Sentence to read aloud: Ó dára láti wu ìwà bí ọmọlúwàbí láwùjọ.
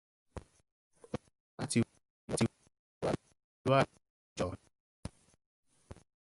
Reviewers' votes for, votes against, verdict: 1, 2, rejected